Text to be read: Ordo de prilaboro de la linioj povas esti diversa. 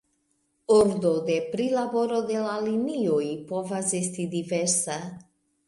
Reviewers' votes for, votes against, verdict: 2, 0, accepted